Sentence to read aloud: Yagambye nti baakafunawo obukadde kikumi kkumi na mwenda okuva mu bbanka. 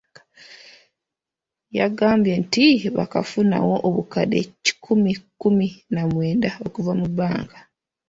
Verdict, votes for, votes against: accepted, 2, 0